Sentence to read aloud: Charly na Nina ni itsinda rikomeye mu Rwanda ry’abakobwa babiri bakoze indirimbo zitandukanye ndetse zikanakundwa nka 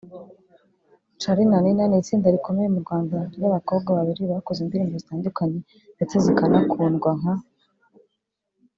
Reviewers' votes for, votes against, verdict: 2, 0, accepted